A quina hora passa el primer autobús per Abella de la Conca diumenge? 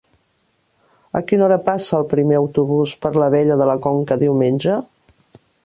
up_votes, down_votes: 0, 2